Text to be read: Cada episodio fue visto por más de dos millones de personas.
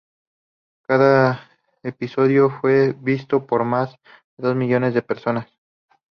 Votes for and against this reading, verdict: 2, 2, rejected